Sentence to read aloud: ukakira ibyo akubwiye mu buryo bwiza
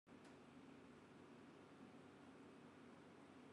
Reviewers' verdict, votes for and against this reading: rejected, 0, 2